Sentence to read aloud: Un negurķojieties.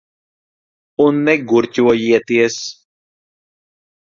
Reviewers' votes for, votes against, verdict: 2, 0, accepted